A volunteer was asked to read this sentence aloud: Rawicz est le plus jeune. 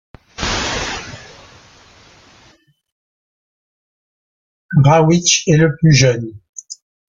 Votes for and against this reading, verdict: 0, 2, rejected